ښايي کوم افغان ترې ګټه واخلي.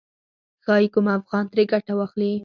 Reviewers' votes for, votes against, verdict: 4, 0, accepted